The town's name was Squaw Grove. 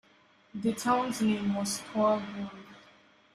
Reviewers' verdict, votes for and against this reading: rejected, 0, 2